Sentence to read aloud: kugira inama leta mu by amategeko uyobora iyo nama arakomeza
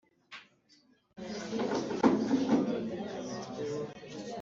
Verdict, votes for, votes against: rejected, 0, 2